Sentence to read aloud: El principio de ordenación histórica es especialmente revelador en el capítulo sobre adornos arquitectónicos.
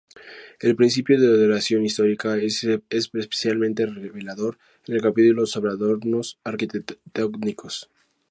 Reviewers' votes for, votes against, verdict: 0, 2, rejected